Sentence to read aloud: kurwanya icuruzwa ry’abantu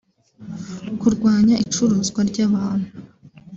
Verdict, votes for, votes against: accepted, 2, 1